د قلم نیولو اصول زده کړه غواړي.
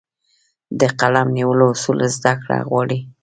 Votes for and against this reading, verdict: 2, 1, accepted